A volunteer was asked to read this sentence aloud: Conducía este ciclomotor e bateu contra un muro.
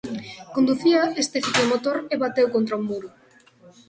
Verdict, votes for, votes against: accepted, 3, 0